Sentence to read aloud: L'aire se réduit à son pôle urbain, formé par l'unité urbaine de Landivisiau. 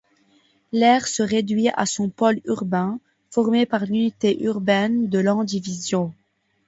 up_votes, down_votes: 2, 0